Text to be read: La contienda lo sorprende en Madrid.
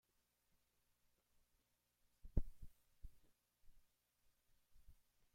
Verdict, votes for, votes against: rejected, 0, 2